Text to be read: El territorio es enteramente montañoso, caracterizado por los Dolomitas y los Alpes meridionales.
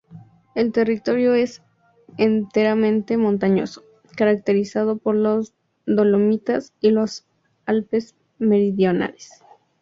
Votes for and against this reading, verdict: 2, 0, accepted